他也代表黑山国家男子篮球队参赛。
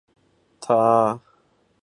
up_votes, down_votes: 0, 2